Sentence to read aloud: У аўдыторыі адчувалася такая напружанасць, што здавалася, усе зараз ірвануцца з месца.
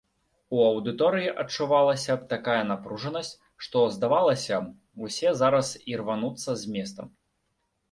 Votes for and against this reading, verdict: 0, 2, rejected